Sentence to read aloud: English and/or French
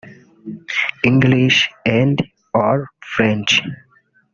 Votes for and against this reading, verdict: 1, 2, rejected